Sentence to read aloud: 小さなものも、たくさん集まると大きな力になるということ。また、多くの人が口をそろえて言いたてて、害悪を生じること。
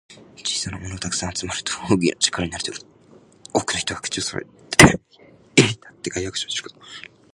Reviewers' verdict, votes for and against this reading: rejected, 1, 2